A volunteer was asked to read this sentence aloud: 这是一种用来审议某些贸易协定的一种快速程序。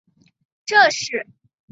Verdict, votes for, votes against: rejected, 0, 2